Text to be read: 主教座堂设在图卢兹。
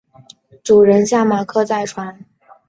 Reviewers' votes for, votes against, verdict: 6, 2, accepted